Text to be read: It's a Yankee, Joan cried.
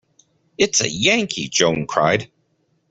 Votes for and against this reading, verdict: 2, 0, accepted